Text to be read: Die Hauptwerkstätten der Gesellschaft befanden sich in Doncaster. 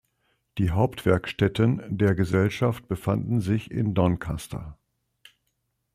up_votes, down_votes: 2, 0